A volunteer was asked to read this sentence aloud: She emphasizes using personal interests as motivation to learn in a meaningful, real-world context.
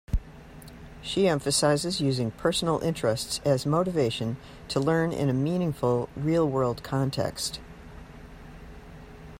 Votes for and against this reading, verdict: 2, 0, accepted